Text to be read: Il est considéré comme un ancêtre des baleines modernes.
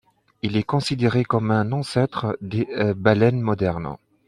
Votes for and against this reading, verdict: 2, 0, accepted